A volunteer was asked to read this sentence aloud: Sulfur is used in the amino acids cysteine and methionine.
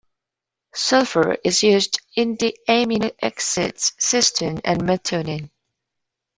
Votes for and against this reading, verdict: 1, 2, rejected